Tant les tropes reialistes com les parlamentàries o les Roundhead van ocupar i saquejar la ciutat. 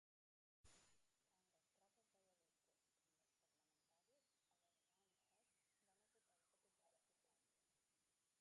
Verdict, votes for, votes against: rejected, 0, 4